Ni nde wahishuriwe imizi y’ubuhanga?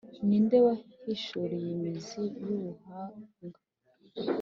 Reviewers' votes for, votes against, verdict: 2, 0, accepted